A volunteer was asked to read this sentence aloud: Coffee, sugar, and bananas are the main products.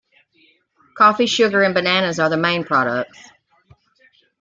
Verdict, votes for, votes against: accepted, 2, 1